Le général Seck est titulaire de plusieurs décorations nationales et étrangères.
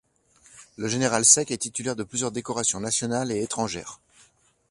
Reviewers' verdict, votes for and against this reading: accepted, 2, 0